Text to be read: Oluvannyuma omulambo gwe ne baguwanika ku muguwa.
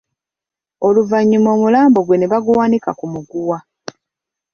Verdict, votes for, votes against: accepted, 2, 0